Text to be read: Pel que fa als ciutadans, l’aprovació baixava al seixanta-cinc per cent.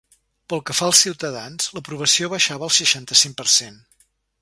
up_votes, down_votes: 2, 0